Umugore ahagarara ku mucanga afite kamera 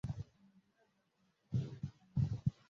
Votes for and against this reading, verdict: 0, 2, rejected